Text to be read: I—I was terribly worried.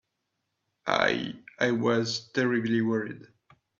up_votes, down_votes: 2, 0